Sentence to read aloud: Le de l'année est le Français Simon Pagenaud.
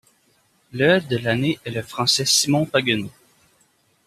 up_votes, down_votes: 0, 2